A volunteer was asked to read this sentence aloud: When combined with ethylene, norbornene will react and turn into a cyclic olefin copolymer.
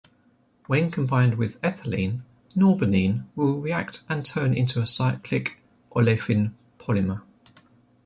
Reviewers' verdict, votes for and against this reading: rejected, 1, 2